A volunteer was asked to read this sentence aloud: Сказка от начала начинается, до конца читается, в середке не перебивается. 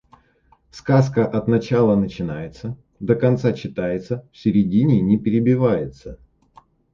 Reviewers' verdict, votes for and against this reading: rejected, 0, 2